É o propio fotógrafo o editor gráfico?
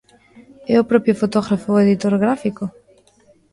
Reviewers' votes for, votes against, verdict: 2, 0, accepted